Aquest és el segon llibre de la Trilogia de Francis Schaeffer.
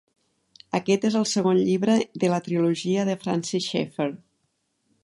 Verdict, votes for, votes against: accepted, 2, 0